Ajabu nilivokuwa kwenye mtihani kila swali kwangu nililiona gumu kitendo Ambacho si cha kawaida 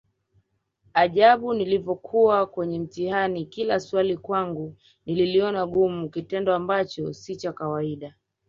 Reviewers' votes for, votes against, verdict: 1, 2, rejected